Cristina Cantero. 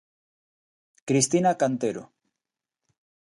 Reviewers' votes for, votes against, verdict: 2, 0, accepted